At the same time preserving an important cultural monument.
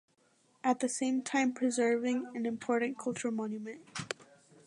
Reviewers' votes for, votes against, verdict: 2, 0, accepted